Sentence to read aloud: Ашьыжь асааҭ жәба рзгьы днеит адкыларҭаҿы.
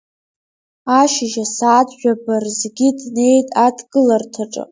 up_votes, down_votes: 0, 2